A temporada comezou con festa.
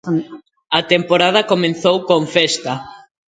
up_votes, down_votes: 0, 2